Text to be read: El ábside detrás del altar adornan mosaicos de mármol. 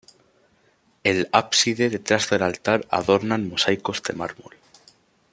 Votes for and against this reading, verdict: 2, 0, accepted